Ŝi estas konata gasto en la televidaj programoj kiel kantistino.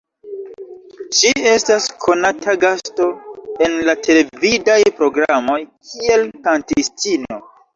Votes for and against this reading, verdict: 2, 0, accepted